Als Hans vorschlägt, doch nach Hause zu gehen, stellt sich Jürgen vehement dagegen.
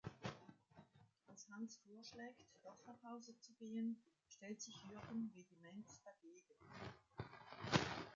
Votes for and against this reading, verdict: 3, 0, accepted